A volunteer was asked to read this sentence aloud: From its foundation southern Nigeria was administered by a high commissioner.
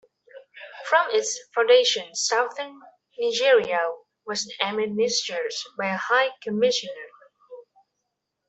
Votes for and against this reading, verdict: 0, 2, rejected